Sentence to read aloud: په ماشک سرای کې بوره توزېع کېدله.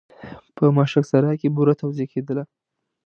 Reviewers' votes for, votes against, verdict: 2, 0, accepted